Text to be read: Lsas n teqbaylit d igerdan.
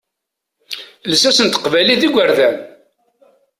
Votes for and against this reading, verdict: 2, 0, accepted